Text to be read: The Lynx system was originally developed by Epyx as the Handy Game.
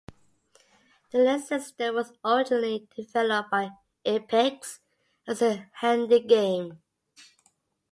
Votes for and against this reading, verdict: 2, 0, accepted